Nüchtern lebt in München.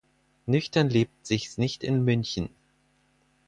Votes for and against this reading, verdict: 0, 4, rejected